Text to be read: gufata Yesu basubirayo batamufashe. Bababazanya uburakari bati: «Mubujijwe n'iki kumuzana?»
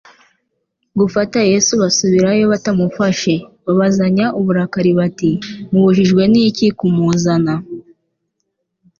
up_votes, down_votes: 2, 0